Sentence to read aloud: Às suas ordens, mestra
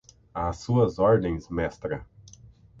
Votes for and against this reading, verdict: 6, 0, accepted